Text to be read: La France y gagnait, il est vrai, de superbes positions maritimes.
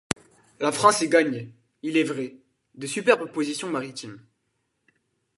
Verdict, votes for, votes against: rejected, 0, 2